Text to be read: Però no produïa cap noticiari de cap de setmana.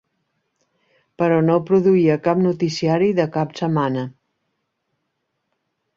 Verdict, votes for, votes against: rejected, 0, 2